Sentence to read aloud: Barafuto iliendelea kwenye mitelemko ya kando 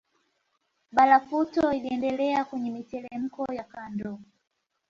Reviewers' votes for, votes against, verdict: 2, 0, accepted